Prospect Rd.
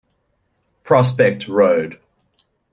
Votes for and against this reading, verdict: 2, 0, accepted